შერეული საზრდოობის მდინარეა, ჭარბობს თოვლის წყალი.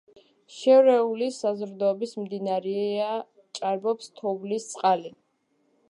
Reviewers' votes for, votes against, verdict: 2, 0, accepted